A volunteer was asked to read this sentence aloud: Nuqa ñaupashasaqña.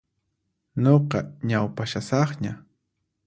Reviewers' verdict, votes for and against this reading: accepted, 4, 0